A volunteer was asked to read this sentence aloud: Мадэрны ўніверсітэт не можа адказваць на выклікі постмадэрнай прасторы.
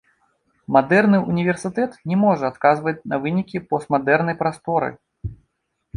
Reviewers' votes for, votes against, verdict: 1, 2, rejected